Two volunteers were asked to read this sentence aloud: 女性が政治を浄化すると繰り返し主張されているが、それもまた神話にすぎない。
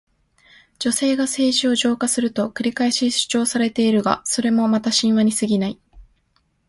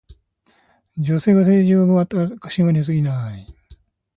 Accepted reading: first